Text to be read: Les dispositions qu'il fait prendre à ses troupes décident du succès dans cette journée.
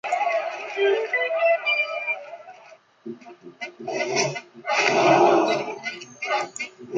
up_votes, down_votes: 0, 2